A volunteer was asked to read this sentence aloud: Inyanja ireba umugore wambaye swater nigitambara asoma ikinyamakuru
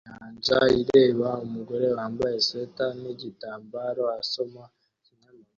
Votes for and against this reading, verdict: 1, 2, rejected